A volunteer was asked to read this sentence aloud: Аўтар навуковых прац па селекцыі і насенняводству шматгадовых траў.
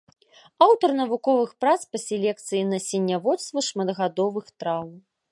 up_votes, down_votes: 2, 0